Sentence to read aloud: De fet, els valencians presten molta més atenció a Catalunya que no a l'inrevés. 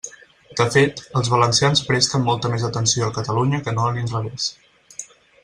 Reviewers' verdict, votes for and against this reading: accepted, 4, 0